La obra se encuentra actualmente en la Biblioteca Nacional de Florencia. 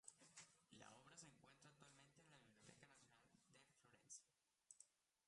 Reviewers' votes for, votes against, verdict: 0, 2, rejected